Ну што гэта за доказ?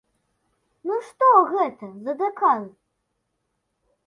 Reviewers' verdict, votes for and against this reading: rejected, 0, 2